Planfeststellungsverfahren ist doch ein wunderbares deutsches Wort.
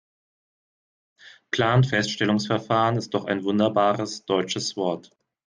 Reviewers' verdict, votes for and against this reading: accepted, 2, 0